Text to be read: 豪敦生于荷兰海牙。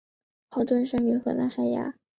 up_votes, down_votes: 2, 0